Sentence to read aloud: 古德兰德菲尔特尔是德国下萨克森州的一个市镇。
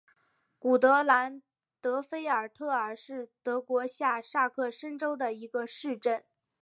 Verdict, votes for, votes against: accepted, 5, 0